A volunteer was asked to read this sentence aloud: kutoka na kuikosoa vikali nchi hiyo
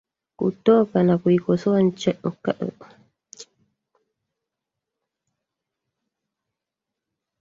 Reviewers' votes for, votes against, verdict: 0, 2, rejected